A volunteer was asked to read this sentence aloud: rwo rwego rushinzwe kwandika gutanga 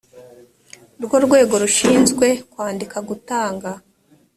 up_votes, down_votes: 2, 0